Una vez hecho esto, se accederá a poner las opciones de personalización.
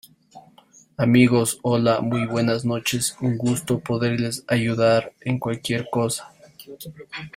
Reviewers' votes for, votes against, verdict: 0, 2, rejected